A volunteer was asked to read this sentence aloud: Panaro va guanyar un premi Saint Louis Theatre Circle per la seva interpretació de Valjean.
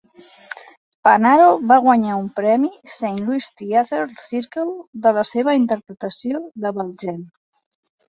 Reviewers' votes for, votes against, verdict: 2, 1, accepted